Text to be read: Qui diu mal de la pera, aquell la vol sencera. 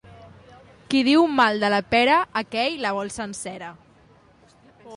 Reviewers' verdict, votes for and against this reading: accepted, 2, 0